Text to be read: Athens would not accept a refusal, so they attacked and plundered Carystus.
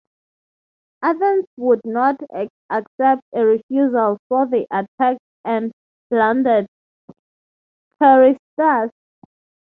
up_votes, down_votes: 0, 6